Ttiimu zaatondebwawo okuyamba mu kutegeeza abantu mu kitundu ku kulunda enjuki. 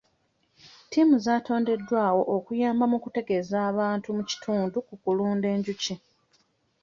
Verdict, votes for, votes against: rejected, 1, 2